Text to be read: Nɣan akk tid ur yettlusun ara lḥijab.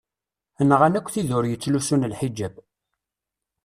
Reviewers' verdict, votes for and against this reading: rejected, 1, 2